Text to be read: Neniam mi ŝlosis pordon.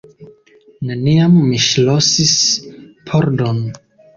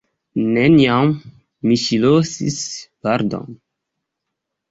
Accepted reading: first